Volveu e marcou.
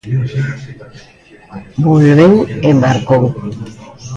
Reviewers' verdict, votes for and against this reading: accepted, 2, 0